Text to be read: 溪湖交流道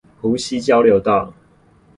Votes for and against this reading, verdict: 0, 2, rejected